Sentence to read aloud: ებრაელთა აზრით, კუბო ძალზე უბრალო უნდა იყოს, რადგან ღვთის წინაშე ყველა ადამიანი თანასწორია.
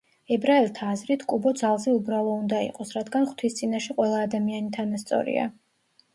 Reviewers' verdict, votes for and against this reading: accepted, 2, 0